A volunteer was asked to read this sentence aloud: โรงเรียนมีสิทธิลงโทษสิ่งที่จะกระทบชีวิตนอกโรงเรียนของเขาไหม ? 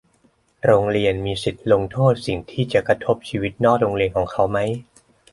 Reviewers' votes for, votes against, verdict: 2, 1, accepted